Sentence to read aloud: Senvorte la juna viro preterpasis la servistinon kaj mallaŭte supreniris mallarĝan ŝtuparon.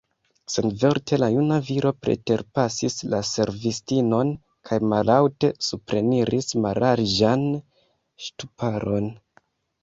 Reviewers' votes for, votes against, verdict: 0, 2, rejected